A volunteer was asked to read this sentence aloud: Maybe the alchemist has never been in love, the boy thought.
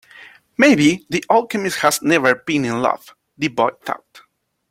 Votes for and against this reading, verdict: 2, 0, accepted